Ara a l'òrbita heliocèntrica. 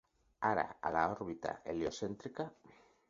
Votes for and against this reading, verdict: 2, 4, rejected